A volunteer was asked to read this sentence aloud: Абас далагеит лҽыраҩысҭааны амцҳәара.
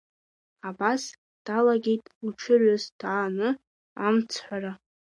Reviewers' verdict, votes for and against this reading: rejected, 1, 2